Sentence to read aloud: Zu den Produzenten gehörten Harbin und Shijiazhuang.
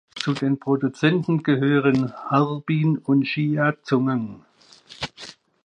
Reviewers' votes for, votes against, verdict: 1, 2, rejected